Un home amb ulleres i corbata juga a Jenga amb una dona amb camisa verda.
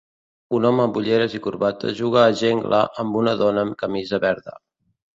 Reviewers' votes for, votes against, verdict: 0, 2, rejected